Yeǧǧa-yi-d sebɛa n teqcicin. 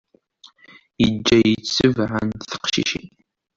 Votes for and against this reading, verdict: 2, 0, accepted